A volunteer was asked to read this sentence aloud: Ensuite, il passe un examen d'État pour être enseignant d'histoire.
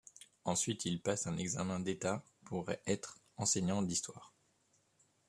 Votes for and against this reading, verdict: 2, 0, accepted